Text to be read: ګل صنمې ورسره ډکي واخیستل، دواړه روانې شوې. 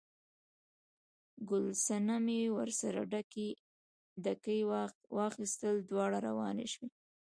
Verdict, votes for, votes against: rejected, 0, 2